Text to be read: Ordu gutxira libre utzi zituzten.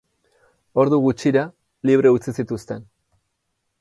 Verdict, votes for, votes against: accepted, 4, 0